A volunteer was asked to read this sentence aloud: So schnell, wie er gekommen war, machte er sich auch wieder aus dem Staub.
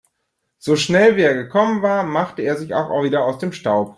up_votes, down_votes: 0, 2